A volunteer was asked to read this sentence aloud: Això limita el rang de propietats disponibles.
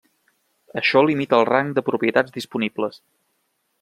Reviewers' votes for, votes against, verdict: 3, 0, accepted